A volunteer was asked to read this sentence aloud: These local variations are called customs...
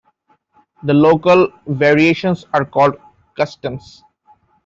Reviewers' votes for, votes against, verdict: 0, 2, rejected